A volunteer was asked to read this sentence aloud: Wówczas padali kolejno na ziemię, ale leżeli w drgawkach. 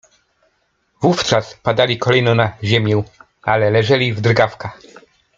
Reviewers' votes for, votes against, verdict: 2, 0, accepted